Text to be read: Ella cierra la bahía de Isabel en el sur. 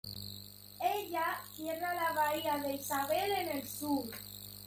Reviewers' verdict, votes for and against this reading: accepted, 2, 0